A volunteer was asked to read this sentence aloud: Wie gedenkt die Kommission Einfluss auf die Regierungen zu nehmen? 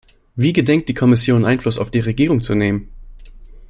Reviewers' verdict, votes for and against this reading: rejected, 0, 2